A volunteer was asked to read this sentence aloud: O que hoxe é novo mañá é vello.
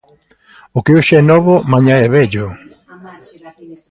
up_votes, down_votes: 0, 2